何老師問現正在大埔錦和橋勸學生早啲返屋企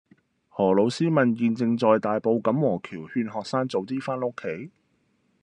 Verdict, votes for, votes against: rejected, 0, 2